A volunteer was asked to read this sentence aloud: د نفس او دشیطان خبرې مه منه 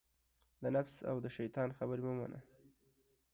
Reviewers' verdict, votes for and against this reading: rejected, 1, 2